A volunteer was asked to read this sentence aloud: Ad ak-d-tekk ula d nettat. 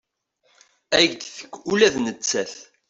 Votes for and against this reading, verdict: 2, 0, accepted